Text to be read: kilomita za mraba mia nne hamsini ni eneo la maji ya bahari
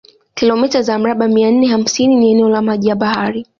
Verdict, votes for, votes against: accepted, 2, 1